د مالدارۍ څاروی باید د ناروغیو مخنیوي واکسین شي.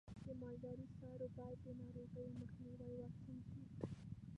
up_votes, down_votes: 1, 2